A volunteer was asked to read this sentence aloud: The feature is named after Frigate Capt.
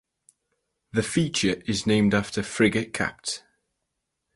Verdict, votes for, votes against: rejected, 2, 2